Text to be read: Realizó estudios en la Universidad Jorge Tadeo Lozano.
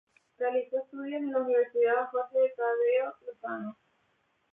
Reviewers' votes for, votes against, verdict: 2, 0, accepted